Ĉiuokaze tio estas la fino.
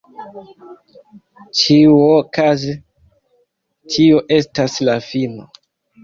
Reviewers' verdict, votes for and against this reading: rejected, 1, 2